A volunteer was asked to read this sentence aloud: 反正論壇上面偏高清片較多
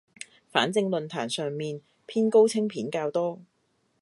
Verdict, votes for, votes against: accepted, 2, 0